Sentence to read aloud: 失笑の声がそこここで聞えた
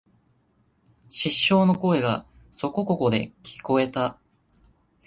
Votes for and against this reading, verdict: 2, 0, accepted